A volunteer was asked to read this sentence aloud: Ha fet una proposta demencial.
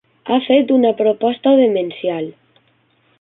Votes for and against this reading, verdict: 4, 0, accepted